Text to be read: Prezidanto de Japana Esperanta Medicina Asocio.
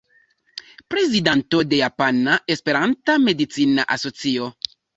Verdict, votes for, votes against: rejected, 0, 2